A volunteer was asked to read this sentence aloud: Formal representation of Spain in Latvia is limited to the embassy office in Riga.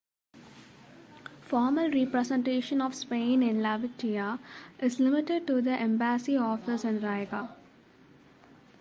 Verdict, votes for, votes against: accepted, 2, 0